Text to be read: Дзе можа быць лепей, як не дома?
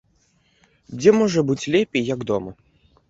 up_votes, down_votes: 0, 2